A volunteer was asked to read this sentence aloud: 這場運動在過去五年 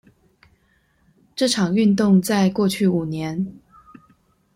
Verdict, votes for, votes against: accepted, 2, 0